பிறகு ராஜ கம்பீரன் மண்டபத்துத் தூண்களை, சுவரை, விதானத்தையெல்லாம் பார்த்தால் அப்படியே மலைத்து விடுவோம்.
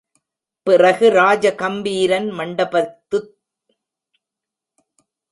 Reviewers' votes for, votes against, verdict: 0, 2, rejected